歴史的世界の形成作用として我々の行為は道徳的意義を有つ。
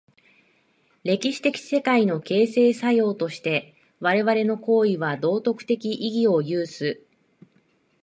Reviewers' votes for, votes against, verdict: 1, 2, rejected